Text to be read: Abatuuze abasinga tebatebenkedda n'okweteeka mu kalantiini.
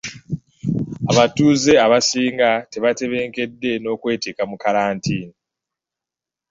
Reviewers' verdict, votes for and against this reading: accepted, 2, 1